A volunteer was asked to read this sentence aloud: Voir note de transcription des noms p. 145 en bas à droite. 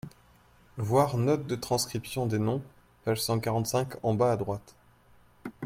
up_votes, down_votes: 0, 2